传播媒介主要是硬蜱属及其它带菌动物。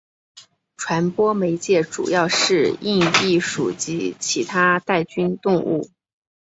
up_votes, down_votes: 2, 0